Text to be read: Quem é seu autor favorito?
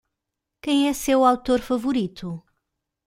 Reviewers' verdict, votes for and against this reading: accepted, 2, 0